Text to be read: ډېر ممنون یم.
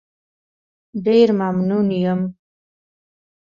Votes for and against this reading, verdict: 2, 0, accepted